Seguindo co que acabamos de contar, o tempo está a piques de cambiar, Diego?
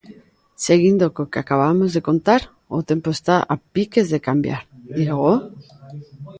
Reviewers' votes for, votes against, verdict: 0, 2, rejected